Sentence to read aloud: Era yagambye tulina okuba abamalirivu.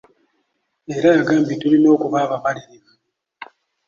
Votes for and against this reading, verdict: 2, 0, accepted